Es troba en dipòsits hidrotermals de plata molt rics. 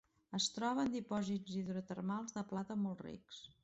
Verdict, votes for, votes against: accepted, 2, 0